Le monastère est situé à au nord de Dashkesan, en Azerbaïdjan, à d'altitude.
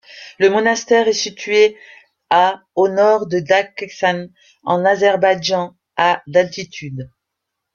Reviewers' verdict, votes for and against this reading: rejected, 1, 2